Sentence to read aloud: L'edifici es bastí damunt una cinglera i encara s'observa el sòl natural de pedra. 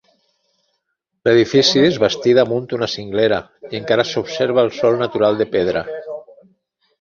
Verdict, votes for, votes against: accepted, 2, 1